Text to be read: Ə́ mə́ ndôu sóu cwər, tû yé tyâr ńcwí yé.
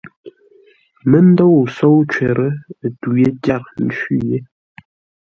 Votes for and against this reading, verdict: 2, 0, accepted